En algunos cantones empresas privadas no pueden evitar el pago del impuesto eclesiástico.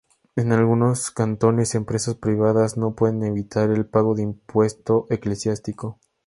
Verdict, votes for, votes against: rejected, 0, 2